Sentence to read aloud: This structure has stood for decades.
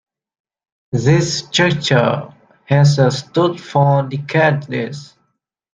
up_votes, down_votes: 0, 2